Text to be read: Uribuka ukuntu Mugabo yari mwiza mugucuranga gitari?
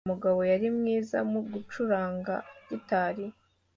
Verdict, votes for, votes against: accepted, 2, 1